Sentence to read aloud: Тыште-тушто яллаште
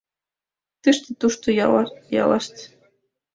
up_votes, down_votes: 0, 2